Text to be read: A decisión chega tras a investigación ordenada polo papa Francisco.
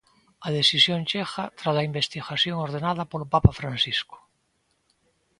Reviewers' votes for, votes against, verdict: 2, 0, accepted